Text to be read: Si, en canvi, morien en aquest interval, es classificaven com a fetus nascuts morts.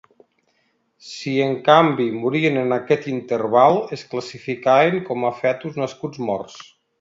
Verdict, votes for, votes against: accepted, 2, 0